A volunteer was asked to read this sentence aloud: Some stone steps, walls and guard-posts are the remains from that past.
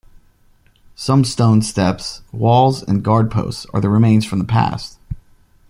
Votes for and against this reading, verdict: 1, 2, rejected